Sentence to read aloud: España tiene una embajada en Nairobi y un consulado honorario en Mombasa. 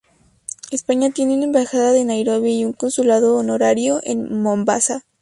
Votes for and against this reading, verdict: 2, 0, accepted